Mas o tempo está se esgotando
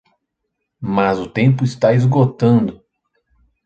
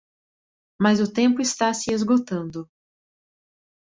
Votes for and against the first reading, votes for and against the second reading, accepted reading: 1, 2, 2, 0, second